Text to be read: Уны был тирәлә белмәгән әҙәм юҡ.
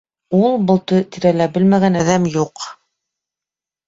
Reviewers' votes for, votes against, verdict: 1, 2, rejected